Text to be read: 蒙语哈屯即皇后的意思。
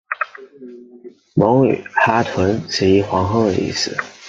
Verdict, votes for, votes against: accepted, 2, 0